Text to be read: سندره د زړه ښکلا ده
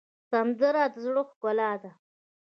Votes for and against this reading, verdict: 2, 0, accepted